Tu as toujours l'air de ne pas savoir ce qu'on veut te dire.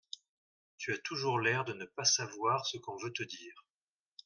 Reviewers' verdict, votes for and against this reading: accepted, 2, 0